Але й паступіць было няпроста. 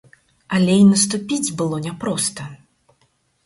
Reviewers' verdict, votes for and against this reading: rejected, 0, 4